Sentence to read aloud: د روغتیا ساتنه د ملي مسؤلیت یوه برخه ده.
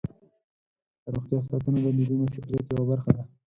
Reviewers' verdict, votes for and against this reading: accepted, 6, 2